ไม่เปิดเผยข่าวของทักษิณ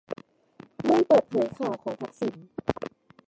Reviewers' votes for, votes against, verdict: 1, 2, rejected